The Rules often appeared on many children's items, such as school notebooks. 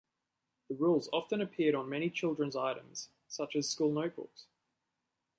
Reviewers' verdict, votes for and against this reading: accepted, 2, 0